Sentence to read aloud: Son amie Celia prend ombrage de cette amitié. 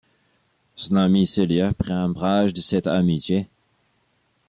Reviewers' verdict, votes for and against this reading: accepted, 2, 1